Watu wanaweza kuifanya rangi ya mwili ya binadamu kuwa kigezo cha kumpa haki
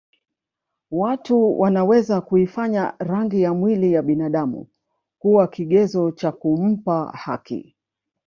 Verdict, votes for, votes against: accepted, 2, 0